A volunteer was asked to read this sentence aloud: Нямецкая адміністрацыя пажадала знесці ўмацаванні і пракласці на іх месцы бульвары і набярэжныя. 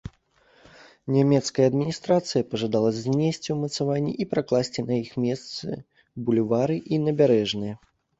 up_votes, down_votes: 2, 0